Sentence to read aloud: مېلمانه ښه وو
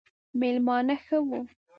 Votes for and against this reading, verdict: 1, 2, rejected